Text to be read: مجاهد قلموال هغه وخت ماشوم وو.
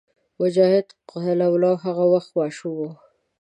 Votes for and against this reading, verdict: 1, 2, rejected